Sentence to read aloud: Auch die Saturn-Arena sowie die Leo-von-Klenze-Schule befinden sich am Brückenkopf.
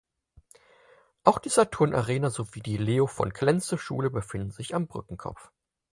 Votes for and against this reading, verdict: 4, 0, accepted